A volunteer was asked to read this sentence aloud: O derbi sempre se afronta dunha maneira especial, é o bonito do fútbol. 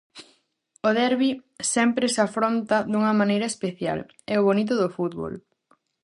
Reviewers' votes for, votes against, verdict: 4, 0, accepted